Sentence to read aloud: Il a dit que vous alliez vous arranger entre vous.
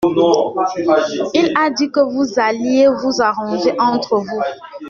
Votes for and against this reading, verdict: 1, 2, rejected